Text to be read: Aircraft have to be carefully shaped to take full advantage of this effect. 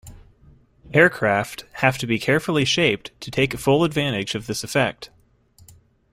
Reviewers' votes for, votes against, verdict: 2, 0, accepted